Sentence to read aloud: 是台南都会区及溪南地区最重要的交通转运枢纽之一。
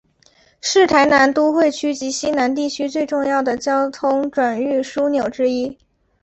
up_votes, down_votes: 2, 0